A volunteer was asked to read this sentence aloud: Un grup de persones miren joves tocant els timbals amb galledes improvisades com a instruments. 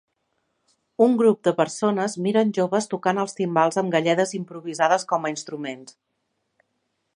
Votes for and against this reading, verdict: 4, 0, accepted